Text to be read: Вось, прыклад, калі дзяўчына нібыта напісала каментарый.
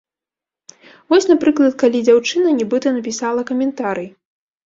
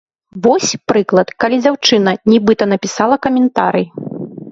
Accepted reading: second